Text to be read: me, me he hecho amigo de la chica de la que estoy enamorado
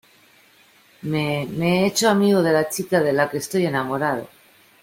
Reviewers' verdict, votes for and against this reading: accepted, 2, 0